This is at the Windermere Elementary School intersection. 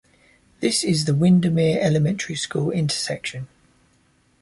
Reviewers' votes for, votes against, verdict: 1, 2, rejected